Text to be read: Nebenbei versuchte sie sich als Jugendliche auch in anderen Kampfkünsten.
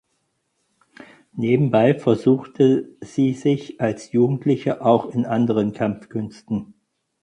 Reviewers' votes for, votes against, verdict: 4, 0, accepted